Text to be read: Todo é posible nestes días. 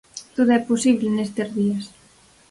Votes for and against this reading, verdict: 4, 0, accepted